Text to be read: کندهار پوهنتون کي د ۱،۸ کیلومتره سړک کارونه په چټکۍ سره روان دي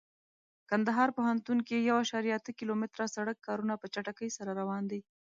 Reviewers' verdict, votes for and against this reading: rejected, 0, 2